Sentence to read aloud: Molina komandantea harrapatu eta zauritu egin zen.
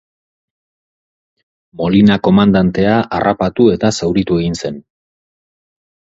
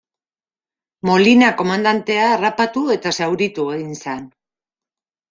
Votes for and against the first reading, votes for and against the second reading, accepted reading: 4, 0, 0, 2, first